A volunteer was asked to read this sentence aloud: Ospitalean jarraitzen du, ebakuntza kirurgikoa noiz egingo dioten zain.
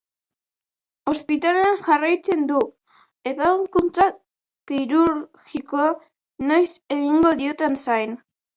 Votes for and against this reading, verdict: 0, 4, rejected